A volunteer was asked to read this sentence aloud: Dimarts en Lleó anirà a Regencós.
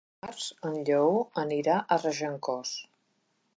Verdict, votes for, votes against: rejected, 1, 2